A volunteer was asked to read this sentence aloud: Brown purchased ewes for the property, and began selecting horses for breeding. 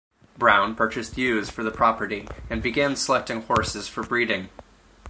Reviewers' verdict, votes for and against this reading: accepted, 4, 0